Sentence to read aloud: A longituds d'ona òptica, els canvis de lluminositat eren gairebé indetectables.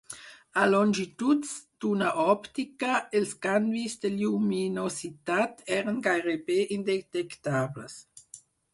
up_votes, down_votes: 4, 0